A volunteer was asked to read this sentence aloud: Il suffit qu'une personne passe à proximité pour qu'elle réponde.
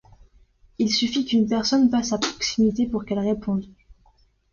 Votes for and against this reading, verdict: 2, 0, accepted